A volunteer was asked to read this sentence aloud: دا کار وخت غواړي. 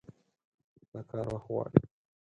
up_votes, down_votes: 0, 4